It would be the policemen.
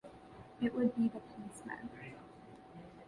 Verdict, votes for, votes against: rejected, 0, 2